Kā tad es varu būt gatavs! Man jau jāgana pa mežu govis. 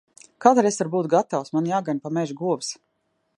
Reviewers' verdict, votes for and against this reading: rejected, 0, 2